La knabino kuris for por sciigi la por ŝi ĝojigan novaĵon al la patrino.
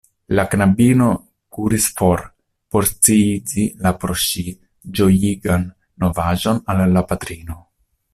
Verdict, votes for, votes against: rejected, 0, 2